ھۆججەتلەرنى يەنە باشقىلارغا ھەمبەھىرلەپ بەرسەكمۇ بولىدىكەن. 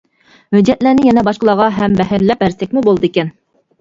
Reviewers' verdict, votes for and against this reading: rejected, 1, 2